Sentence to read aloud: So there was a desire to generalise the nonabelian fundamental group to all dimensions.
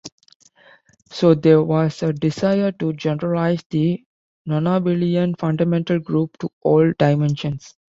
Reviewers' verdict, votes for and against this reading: accepted, 2, 0